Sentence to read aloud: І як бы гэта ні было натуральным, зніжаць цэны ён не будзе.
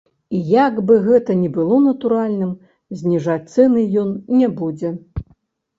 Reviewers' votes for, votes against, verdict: 2, 3, rejected